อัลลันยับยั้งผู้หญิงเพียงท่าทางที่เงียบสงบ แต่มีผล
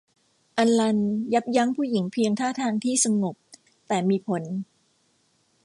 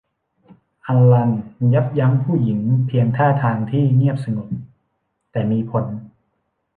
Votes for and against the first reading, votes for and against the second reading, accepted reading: 0, 2, 2, 0, second